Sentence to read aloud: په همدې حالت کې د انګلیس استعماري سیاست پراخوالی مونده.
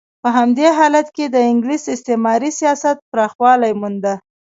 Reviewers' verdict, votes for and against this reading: accepted, 3, 2